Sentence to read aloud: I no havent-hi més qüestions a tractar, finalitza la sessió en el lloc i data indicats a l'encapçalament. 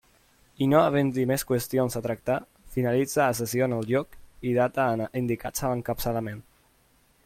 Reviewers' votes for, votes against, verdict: 1, 2, rejected